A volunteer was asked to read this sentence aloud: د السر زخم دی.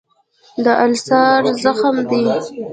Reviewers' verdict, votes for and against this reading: rejected, 1, 2